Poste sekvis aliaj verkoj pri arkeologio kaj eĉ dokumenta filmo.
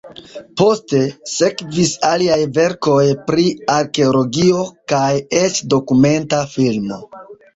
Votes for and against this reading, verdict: 3, 1, accepted